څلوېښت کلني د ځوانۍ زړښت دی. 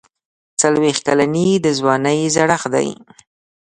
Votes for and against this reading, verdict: 2, 0, accepted